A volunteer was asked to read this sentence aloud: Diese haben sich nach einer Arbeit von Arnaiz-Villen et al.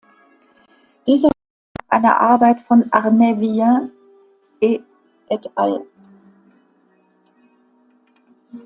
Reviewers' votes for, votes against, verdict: 0, 2, rejected